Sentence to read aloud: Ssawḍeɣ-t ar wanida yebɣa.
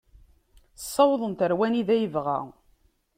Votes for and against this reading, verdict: 0, 2, rejected